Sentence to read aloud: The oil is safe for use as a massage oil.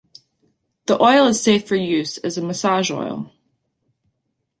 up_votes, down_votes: 2, 0